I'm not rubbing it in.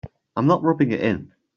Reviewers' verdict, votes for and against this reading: accepted, 3, 0